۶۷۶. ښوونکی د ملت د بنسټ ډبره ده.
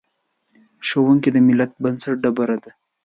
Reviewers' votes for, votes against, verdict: 0, 2, rejected